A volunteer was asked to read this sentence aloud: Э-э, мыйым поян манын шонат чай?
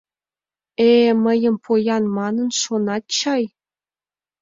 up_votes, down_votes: 2, 0